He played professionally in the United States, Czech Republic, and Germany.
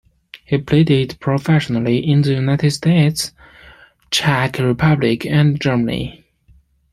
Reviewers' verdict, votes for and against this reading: rejected, 1, 2